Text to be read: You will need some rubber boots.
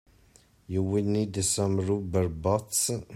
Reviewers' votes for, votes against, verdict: 0, 2, rejected